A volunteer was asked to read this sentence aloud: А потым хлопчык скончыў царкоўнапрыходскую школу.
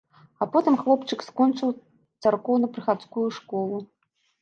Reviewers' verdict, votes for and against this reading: rejected, 1, 2